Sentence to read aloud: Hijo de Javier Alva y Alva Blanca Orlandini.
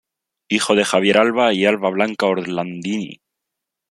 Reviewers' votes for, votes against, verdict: 2, 0, accepted